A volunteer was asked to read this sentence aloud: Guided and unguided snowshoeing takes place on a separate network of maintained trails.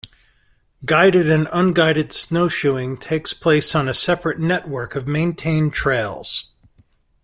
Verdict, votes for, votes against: accepted, 2, 0